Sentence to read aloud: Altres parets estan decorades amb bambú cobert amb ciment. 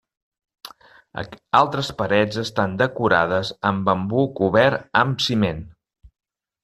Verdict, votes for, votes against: rejected, 1, 2